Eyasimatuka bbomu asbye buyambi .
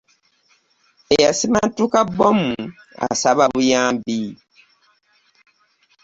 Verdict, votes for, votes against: rejected, 0, 2